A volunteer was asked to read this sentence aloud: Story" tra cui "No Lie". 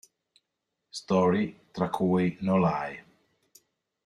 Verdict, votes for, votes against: accepted, 2, 0